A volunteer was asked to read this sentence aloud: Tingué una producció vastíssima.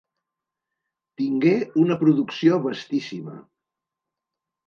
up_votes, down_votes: 2, 0